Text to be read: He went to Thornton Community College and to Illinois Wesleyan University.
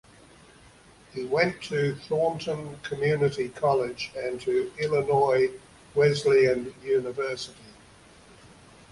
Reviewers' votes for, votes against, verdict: 2, 1, accepted